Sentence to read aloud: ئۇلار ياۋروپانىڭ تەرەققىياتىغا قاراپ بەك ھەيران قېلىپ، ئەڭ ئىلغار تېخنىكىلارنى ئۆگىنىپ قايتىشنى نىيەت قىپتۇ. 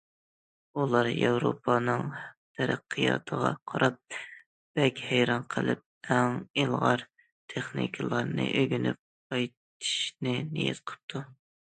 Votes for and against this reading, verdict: 2, 0, accepted